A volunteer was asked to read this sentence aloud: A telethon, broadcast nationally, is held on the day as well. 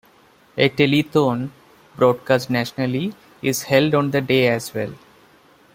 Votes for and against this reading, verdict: 1, 2, rejected